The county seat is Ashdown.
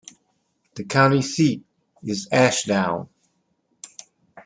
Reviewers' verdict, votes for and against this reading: accepted, 2, 0